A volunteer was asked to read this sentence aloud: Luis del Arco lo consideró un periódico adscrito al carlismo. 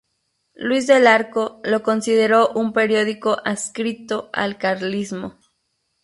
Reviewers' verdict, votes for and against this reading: rejected, 0, 2